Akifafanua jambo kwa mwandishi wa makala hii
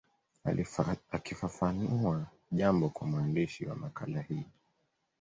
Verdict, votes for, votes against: accepted, 2, 0